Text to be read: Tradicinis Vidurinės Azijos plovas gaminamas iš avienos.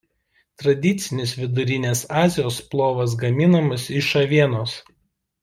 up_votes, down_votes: 2, 0